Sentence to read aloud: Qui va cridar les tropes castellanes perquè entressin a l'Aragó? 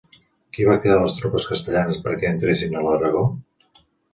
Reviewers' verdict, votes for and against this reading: accepted, 2, 0